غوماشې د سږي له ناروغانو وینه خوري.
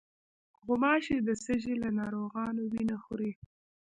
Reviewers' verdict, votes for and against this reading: rejected, 1, 2